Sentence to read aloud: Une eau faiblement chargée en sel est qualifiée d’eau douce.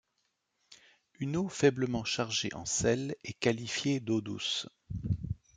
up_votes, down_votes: 2, 0